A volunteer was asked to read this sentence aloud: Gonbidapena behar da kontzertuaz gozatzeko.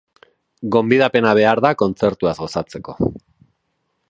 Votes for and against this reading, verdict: 3, 1, accepted